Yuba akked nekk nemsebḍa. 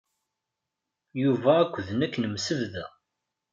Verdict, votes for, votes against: rejected, 0, 2